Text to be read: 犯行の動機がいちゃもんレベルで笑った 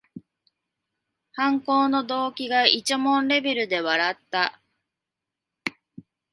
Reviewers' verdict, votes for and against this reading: accepted, 2, 1